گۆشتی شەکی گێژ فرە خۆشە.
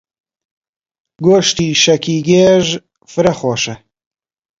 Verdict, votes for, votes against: accepted, 2, 0